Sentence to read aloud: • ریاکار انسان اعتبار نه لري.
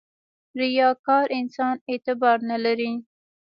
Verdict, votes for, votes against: rejected, 1, 2